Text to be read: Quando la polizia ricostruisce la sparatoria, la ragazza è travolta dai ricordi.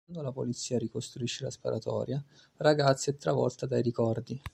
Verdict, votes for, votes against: rejected, 0, 2